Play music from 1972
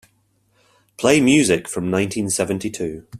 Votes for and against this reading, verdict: 0, 2, rejected